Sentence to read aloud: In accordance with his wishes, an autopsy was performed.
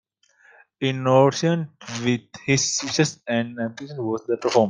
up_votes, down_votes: 0, 2